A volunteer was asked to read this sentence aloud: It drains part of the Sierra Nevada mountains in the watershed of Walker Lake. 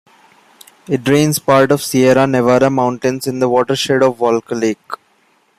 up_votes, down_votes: 0, 2